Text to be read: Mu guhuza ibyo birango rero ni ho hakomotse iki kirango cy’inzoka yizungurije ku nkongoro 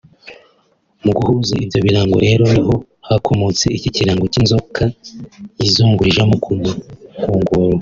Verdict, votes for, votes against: rejected, 1, 2